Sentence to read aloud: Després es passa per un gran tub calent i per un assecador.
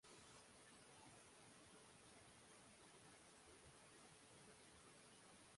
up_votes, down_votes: 0, 2